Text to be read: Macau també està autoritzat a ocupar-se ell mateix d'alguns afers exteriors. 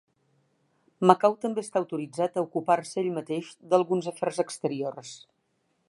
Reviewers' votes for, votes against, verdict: 3, 0, accepted